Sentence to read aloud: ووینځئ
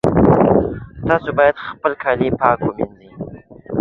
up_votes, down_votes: 1, 2